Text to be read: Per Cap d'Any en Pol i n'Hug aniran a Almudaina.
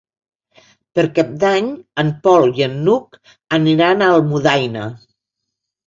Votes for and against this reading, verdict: 1, 2, rejected